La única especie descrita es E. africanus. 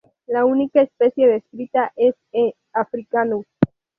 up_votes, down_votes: 2, 2